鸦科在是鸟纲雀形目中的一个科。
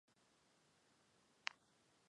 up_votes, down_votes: 0, 4